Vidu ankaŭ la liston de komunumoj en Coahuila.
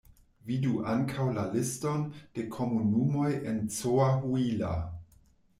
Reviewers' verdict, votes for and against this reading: rejected, 1, 2